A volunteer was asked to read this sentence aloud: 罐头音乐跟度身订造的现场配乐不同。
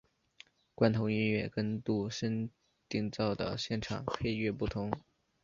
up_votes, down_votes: 2, 0